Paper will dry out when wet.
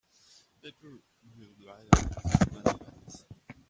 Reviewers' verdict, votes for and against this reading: rejected, 0, 2